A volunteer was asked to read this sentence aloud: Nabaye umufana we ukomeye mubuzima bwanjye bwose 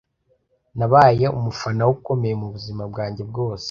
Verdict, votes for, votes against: accepted, 2, 0